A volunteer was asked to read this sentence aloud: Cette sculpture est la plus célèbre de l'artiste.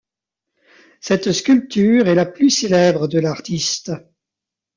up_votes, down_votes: 2, 0